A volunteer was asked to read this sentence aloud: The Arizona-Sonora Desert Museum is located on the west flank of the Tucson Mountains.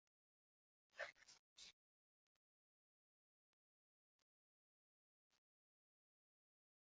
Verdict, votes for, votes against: rejected, 0, 2